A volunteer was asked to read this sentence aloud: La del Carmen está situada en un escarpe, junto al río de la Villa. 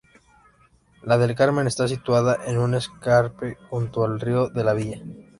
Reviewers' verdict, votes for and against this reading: accepted, 2, 0